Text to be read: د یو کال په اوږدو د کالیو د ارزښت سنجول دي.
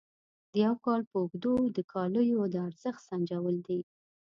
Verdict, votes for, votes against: accepted, 2, 0